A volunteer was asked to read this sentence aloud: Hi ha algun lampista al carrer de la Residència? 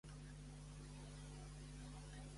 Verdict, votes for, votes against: rejected, 0, 2